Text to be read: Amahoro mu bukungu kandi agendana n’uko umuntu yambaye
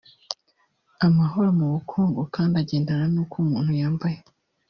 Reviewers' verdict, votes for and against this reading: rejected, 1, 2